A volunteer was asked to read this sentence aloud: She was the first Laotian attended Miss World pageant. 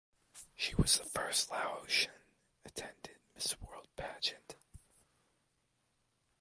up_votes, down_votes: 2, 0